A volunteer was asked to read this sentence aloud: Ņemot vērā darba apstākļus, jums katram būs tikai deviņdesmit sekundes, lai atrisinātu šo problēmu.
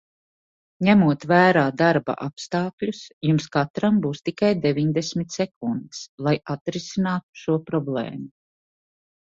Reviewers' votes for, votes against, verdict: 2, 0, accepted